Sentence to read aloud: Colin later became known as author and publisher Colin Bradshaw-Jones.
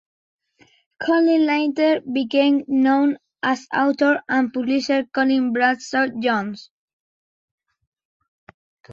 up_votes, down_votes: 2, 1